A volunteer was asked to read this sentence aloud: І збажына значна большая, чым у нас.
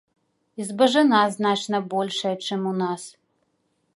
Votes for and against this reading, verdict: 2, 0, accepted